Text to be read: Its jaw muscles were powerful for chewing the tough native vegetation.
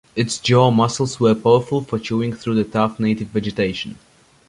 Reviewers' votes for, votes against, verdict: 0, 2, rejected